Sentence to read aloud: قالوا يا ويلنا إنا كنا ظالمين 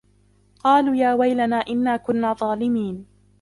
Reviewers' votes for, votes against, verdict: 1, 2, rejected